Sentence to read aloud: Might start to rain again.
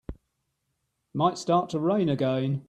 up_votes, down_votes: 3, 0